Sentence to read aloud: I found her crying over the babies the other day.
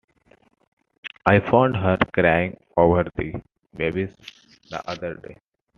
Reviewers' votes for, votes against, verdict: 2, 0, accepted